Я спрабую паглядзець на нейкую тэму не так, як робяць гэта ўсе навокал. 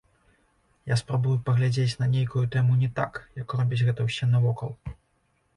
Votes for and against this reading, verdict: 0, 2, rejected